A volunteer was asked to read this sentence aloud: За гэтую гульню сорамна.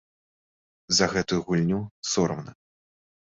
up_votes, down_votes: 2, 0